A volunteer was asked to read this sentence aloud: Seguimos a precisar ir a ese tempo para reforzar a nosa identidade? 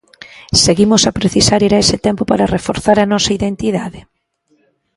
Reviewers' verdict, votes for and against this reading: rejected, 1, 2